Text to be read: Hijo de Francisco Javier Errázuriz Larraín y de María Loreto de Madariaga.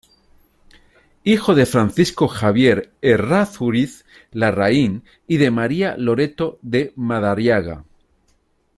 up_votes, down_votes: 2, 0